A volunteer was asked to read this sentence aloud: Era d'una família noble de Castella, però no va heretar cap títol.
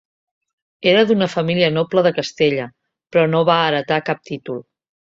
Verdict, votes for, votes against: accepted, 3, 0